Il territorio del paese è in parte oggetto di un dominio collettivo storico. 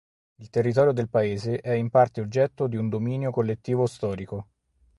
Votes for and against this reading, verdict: 4, 0, accepted